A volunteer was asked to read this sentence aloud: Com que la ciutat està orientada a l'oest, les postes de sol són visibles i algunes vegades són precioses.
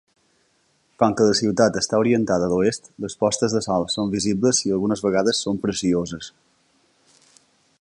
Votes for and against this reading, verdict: 2, 0, accepted